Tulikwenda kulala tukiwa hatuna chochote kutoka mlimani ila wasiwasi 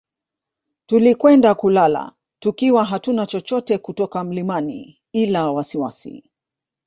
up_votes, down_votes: 4, 0